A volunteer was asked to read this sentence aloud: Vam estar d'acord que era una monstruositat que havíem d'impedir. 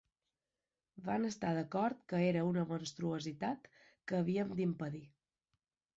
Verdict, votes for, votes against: accepted, 2, 0